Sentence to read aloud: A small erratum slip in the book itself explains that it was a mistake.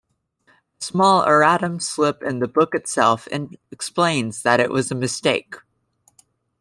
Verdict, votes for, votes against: rejected, 0, 2